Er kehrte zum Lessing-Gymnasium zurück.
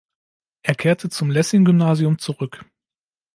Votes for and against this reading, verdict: 2, 0, accepted